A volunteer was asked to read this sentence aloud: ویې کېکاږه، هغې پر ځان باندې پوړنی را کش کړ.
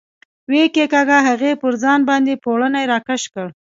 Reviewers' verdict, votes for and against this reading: accepted, 2, 0